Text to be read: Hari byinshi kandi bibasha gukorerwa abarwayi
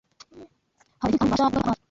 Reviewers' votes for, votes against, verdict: 1, 2, rejected